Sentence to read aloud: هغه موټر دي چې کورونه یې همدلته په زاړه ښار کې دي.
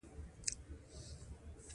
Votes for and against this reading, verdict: 3, 0, accepted